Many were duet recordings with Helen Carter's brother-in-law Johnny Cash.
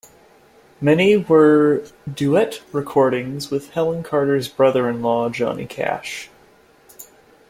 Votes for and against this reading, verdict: 2, 0, accepted